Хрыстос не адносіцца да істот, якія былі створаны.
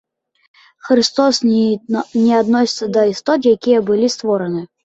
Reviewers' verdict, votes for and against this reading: rejected, 0, 2